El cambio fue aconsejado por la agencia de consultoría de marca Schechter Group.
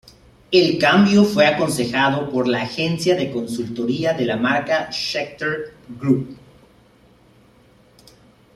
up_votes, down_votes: 1, 2